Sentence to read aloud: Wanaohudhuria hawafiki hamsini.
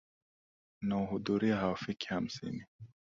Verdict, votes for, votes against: accepted, 2, 1